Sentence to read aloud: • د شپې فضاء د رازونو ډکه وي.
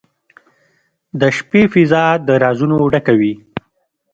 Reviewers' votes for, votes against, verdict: 2, 0, accepted